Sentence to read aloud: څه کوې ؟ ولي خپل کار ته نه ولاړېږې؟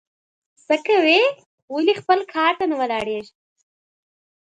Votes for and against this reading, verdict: 2, 0, accepted